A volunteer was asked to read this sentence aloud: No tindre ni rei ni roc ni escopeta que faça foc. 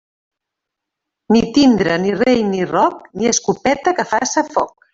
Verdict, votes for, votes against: rejected, 1, 2